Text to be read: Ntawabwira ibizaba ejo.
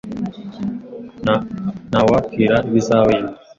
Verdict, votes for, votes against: rejected, 1, 2